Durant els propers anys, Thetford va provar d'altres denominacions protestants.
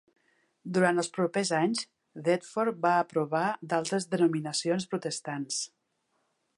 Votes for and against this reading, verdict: 2, 1, accepted